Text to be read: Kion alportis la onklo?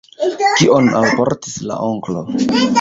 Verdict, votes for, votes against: rejected, 0, 2